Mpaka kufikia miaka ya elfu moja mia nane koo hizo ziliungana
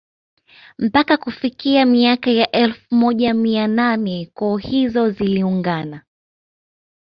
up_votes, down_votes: 2, 0